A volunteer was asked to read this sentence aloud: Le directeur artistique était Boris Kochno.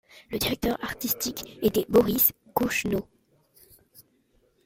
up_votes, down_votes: 2, 0